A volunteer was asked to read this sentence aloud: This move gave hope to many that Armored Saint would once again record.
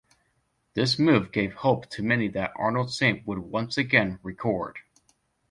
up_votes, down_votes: 0, 2